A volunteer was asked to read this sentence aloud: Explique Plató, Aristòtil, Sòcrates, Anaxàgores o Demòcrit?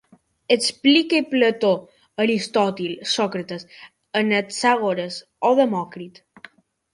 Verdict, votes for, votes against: rejected, 1, 2